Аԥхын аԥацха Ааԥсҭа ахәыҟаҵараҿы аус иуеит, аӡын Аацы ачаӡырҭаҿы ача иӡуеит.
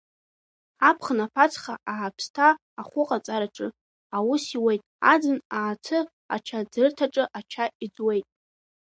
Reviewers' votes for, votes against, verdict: 2, 1, accepted